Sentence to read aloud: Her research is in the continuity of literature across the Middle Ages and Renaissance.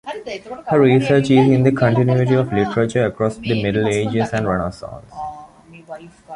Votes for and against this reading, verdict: 0, 2, rejected